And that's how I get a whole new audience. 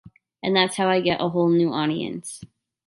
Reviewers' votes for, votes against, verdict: 2, 1, accepted